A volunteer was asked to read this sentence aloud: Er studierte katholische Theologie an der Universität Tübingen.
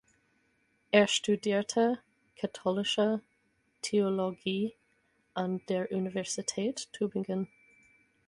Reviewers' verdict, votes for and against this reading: accepted, 4, 0